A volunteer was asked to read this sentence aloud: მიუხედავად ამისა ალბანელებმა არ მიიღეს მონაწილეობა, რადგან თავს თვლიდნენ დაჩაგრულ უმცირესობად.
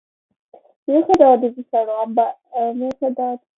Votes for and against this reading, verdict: 2, 1, accepted